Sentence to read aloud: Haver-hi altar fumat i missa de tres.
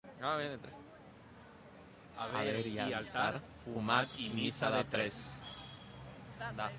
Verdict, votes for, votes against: rejected, 0, 2